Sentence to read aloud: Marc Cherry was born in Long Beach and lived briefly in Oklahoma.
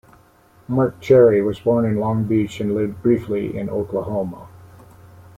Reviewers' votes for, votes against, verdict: 2, 0, accepted